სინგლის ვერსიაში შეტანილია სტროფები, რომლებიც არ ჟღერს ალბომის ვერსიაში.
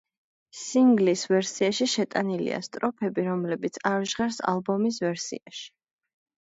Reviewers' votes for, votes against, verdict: 2, 1, accepted